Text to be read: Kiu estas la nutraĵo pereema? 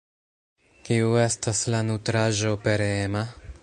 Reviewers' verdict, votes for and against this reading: rejected, 1, 2